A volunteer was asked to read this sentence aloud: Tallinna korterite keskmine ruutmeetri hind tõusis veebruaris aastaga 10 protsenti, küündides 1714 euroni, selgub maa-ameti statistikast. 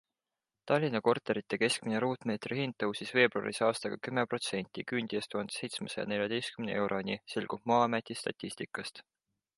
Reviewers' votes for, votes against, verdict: 0, 2, rejected